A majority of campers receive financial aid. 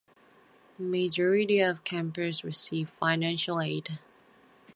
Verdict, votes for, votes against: rejected, 0, 2